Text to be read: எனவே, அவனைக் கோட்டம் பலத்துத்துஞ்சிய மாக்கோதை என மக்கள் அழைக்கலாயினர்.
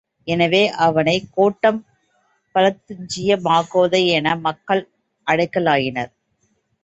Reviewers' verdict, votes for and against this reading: rejected, 2, 3